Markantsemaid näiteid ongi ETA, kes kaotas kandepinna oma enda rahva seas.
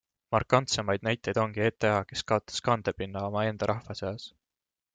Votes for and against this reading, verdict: 2, 0, accepted